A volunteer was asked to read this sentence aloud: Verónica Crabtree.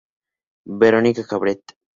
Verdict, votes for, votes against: accepted, 4, 0